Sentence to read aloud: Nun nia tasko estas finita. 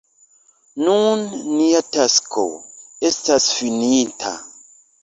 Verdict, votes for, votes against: accepted, 2, 0